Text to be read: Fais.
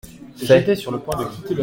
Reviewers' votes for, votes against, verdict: 0, 2, rejected